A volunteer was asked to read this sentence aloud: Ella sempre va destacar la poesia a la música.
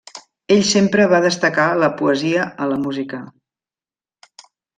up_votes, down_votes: 1, 2